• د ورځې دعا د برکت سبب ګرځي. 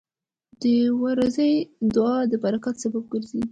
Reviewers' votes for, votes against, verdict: 1, 2, rejected